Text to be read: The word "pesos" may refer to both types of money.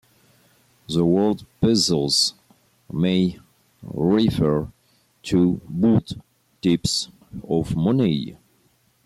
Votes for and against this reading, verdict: 2, 0, accepted